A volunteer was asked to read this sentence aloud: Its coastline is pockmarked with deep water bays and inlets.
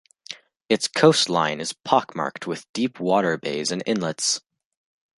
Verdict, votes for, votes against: accepted, 2, 0